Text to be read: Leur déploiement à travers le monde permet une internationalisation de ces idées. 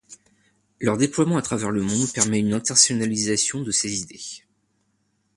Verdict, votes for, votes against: rejected, 0, 2